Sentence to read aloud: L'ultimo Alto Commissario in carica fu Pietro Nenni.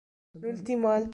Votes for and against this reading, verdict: 1, 2, rejected